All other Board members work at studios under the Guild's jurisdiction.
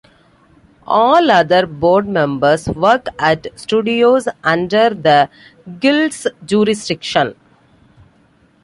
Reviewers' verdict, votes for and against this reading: accepted, 2, 0